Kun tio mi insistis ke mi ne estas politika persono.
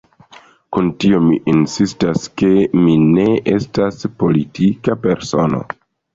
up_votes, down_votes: 1, 2